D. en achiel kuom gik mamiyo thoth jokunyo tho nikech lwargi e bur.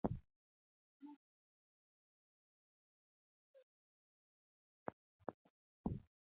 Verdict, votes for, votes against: rejected, 0, 2